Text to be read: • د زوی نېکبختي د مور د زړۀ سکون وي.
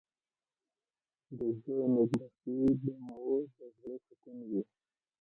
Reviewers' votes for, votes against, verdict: 0, 2, rejected